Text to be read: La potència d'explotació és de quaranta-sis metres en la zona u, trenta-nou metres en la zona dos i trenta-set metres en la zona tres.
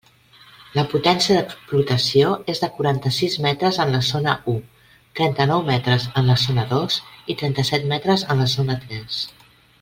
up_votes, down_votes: 3, 0